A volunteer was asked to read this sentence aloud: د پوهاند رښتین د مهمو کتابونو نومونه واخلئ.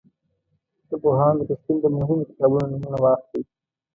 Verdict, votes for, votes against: rejected, 1, 2